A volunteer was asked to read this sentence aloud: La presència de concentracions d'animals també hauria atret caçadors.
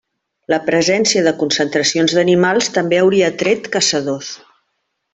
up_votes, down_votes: 2, 0